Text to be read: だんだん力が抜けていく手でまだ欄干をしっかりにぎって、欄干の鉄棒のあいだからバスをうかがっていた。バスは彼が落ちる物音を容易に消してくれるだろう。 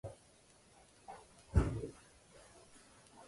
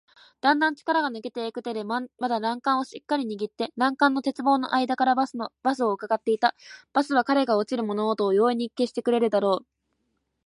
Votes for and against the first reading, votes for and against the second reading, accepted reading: 1, 2, 2, 0, second